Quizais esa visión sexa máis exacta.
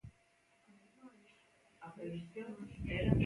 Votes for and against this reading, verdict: 0, 2, rejected